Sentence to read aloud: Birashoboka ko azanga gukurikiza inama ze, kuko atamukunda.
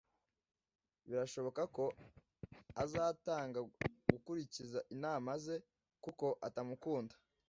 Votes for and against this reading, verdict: 0, 2, rejected